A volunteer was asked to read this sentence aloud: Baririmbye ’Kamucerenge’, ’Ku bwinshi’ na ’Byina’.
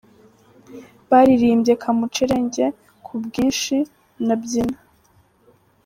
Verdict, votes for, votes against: rejected, 1, 2